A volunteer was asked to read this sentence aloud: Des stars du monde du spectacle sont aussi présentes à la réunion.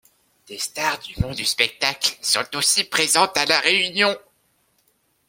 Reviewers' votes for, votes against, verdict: 2, 1, accepted